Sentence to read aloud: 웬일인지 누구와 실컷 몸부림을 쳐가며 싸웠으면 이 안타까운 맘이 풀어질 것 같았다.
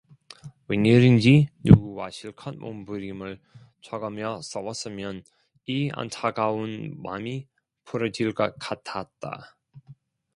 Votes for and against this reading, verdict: 1, 2, rejected